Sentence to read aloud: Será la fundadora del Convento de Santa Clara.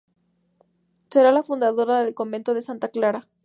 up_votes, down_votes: 2, 0